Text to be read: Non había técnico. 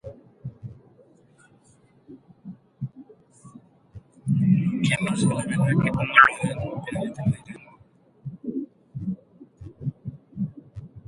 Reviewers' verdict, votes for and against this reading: rejected, 0, 2